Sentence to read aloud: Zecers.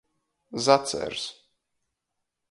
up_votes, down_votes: 0, 2